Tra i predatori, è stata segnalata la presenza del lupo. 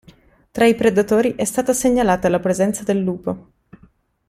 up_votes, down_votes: 2, 0